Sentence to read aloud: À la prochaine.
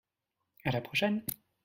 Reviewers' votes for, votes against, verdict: 2, 0, accepted